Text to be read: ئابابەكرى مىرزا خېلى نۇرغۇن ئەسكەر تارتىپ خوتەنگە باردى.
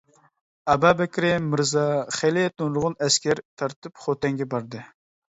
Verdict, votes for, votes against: accepted, 2, 1